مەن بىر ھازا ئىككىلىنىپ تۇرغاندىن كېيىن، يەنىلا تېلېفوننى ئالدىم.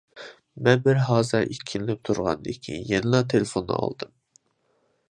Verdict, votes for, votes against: accepted, 2, 0